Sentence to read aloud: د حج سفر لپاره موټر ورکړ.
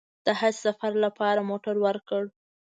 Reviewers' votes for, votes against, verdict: 2, 1, accepted